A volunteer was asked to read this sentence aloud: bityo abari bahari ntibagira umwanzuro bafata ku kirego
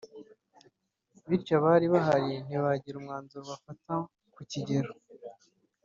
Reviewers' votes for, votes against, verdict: 1, 2, rejected